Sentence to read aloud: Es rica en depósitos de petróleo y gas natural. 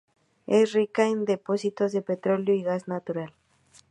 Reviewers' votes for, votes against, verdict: 4, 0, accepted